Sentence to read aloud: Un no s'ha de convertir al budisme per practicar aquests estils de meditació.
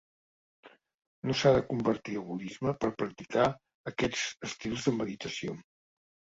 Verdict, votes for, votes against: rejected, 1, 3